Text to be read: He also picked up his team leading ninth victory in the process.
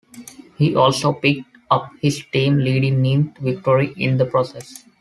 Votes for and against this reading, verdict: 0, 2, rejected